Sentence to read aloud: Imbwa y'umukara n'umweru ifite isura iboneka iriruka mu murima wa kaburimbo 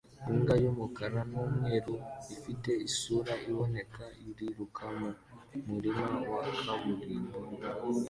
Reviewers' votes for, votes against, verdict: 2, 0, accepted